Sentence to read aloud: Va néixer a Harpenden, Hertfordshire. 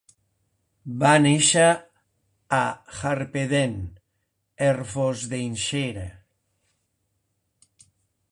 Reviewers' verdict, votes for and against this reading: rejected, 1, 2